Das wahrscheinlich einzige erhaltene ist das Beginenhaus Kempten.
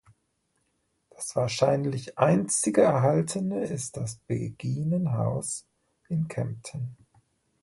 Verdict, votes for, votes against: rejected, 1, 2